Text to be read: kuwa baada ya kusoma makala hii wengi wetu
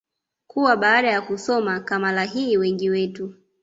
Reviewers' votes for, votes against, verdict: 0, 2, rejected